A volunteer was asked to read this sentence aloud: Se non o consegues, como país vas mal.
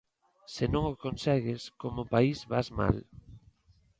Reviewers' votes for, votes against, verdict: 2, 0, accepted